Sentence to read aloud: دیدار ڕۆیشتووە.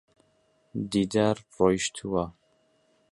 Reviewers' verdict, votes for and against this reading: accepted, 2, 0